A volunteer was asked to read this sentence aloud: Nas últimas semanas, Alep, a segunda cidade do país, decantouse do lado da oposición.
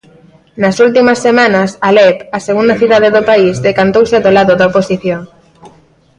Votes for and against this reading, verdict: 1, 2, rejected